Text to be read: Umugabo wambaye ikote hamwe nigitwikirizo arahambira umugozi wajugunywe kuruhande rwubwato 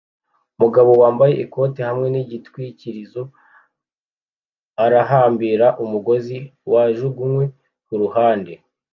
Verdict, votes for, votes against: rejected, 1, 2